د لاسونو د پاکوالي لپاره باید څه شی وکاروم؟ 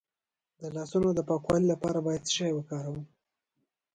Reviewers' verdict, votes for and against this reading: accepted, 2, 0